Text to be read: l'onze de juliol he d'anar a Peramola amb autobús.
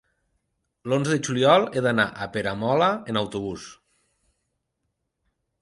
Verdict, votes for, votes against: rejected, 0, 2